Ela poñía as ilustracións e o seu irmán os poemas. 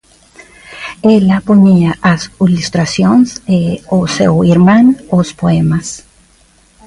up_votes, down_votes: 0, 3